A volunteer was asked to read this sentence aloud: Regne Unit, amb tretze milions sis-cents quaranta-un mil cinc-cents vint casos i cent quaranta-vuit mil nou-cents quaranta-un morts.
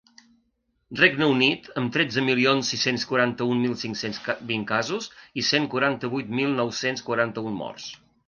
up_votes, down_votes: 0, 2